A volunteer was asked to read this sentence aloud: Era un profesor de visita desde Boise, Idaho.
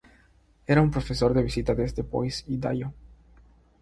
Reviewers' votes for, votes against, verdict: 3, 0, accepted